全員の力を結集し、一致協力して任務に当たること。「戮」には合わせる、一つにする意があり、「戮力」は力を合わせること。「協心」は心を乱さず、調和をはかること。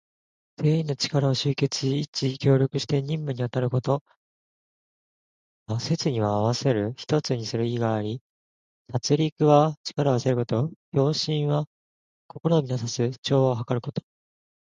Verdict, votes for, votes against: rejected, 0, 2